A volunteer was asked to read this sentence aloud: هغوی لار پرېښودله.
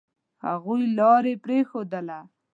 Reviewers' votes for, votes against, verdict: 1, 2, rejected